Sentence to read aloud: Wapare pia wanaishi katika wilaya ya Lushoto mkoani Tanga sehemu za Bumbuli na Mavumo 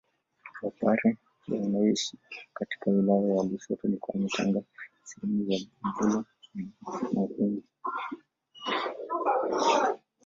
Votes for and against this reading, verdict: 0, 2, rejected